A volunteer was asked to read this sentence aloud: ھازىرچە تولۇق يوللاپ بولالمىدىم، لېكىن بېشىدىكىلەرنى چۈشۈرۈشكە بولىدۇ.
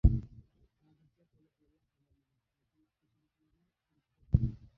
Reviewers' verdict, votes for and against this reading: rejected, 0, 2